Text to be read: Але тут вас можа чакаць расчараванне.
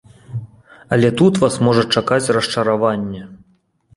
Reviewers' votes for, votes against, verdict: 2, 0, accepted